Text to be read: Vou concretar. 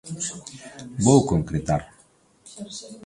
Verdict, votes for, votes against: rejected, 0, 2